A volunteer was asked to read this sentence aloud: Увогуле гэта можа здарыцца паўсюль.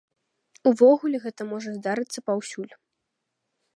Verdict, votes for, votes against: accepted, 2, 0